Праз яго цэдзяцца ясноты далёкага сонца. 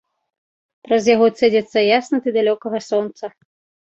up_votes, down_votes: 0, 2